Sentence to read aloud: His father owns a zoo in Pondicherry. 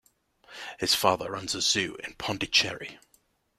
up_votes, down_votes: 2, 0